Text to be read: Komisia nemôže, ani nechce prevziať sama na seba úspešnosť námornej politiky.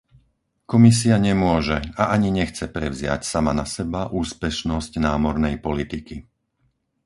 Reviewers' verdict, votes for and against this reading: rejected, 0, 4